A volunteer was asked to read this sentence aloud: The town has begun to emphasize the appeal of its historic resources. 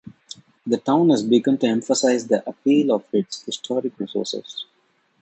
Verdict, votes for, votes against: accepted, 2, 1